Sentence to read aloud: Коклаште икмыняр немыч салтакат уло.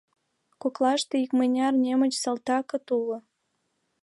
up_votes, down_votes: 2, 0